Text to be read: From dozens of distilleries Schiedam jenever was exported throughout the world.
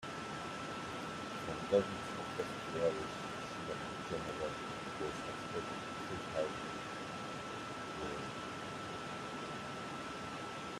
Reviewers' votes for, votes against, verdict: 0, 2, rejected